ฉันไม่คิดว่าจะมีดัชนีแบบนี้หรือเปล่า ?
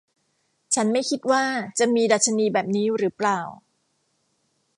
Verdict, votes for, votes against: accepted, 2, 0